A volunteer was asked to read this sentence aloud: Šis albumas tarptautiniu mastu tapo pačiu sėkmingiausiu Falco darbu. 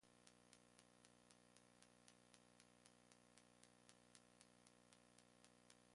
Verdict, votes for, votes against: rejected, 0, 2